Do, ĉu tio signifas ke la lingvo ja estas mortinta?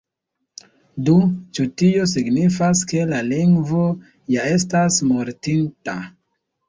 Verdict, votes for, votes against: accepted, 2, 0